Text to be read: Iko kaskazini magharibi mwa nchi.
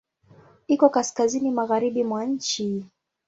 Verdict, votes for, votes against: accepted, 2, 0